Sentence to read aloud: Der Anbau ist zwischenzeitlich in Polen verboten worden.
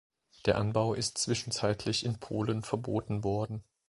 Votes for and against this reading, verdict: 2, 0, accepted